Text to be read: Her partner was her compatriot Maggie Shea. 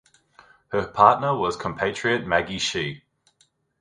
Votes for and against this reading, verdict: 0, 2, rejected